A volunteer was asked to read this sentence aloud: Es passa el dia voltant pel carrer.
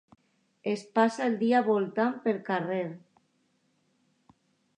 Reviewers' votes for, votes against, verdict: 2, 0, accepted